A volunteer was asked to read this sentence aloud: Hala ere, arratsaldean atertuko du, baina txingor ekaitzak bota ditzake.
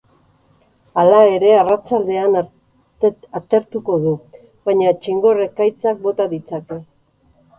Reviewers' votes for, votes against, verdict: 0, 4, rejected